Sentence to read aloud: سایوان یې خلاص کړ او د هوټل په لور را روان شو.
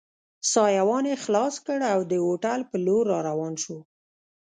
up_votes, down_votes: 1, 2